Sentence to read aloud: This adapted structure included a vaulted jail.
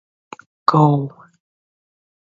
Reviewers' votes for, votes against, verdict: 0, 2, rejected